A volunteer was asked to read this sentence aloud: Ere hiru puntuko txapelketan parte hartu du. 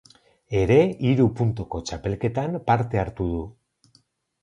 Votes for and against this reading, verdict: 0, 4, rejected